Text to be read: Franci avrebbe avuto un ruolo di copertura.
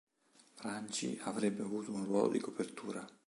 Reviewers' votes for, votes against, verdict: 2, 0, accepted